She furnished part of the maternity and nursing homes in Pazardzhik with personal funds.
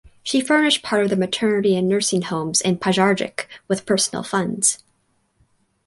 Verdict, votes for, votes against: accepted, 2, 0